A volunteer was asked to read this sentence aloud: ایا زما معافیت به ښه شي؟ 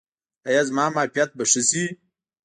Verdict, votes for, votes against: rejected, 1, 2